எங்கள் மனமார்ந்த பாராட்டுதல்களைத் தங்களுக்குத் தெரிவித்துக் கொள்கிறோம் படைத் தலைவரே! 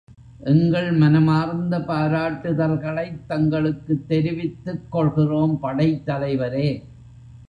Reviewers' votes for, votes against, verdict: 0, 2, rejected